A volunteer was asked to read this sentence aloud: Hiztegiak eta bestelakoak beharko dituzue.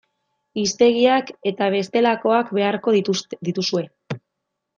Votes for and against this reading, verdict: 0, 2, rejected